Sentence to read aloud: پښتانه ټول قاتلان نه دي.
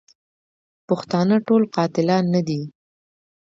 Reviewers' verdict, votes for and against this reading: accepted, 2, 0